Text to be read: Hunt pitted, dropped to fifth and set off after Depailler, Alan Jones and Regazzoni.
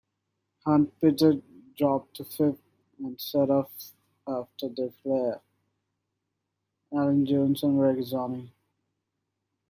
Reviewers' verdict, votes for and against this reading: rejected, 0, 2